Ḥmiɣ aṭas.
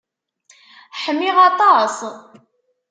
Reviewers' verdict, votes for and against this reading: accepted, 2, 0